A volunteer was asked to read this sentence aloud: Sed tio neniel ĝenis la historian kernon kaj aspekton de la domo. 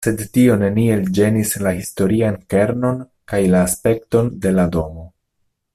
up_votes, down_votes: 0, 2